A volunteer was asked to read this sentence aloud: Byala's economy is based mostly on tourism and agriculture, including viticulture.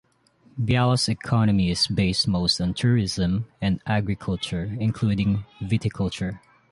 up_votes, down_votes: 0, 2